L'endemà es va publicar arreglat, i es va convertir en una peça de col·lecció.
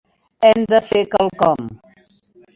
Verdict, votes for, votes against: rejected, 0, 2